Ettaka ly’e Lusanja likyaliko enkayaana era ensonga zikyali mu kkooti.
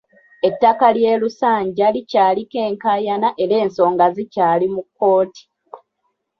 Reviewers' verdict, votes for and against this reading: accepted, 2, 0